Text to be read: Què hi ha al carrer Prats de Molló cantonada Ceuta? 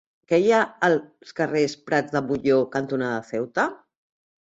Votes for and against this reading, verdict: 0, 2, rejected